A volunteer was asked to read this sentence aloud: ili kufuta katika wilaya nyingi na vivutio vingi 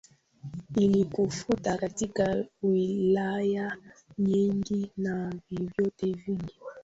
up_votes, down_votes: 0, 2